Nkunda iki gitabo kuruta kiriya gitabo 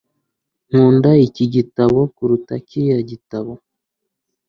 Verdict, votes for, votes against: accepted, 2, 0